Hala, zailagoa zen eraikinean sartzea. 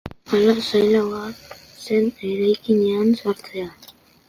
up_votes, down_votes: 1, 2